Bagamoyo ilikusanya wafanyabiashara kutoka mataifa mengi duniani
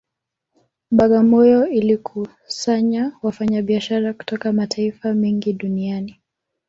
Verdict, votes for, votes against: rejected, 1, 2